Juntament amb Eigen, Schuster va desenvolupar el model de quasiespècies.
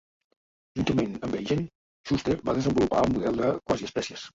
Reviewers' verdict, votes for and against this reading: rejected, 0, 2